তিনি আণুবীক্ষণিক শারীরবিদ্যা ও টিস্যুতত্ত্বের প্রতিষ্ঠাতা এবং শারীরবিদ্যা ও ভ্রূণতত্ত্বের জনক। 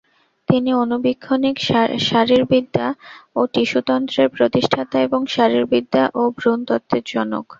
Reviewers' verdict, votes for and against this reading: accepted, 2, 0